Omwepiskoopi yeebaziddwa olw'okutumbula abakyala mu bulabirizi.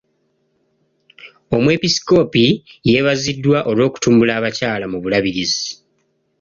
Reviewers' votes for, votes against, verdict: 2, 0, accepted